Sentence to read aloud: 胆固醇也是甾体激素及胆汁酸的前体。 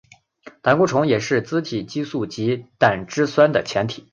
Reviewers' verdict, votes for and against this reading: accepted, 2, 0